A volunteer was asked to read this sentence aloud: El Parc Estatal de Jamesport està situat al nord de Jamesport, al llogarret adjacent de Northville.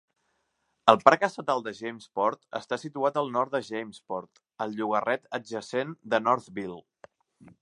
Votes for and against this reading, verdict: 3, 0, accepted